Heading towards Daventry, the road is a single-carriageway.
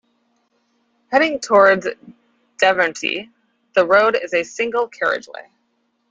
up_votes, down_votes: 1, 2